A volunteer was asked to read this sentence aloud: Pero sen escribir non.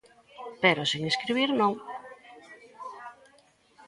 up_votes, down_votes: 0, 2